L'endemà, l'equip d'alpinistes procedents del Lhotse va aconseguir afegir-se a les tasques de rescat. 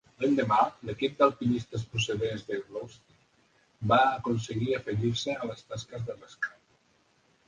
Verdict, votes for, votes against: rejected, 0, 2